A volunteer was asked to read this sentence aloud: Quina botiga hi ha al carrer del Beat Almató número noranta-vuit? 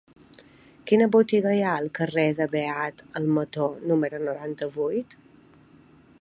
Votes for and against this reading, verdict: 2, 0, accepted